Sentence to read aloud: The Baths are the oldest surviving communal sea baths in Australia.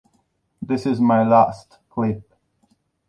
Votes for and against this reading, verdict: 0, 2, rejected